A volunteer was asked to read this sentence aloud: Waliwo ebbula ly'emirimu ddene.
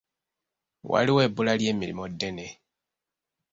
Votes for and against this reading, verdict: 2, 0, accepted